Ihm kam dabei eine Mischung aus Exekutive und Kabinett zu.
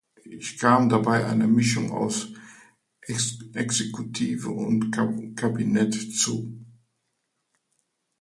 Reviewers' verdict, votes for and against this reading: rejected, 0, 2